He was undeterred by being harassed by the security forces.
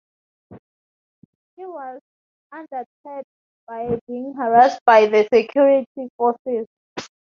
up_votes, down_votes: 0, 2